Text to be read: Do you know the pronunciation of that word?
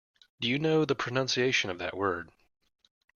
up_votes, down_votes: 2, 0